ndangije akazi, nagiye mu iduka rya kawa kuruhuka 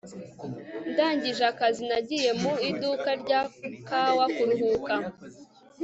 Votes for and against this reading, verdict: 2, 0, accepted